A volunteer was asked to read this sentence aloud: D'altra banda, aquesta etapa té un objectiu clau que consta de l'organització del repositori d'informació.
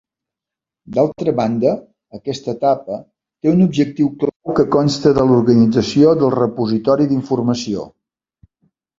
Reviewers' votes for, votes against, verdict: 1, 2, rejected